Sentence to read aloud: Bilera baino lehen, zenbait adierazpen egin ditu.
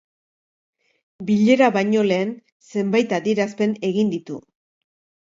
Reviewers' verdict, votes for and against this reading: accepted, 2, 0